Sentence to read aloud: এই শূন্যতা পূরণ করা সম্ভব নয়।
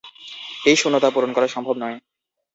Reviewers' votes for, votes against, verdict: 2, 2, rejected